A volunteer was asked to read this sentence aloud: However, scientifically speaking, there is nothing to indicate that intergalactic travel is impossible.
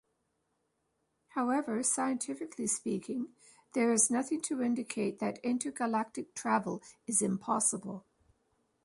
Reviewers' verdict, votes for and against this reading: rejected, 0, 2